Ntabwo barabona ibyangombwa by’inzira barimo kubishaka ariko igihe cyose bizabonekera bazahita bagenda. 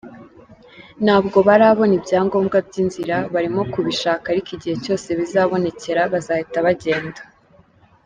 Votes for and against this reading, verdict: 2, 1, accepted